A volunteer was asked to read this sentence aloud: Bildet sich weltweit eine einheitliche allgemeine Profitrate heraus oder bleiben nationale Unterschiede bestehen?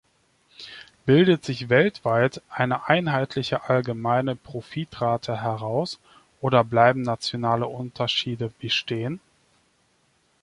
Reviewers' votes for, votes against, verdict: 2, 0, accepted